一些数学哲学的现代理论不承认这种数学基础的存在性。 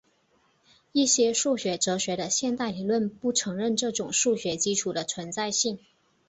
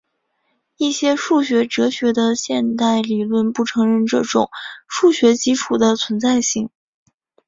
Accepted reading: first